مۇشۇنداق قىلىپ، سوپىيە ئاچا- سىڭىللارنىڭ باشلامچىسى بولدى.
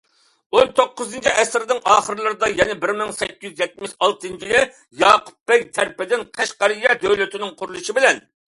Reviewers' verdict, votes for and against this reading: rejected, 0, 2